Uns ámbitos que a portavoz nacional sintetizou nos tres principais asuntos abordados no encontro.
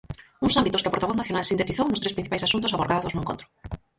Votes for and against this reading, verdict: 0, 4, rejected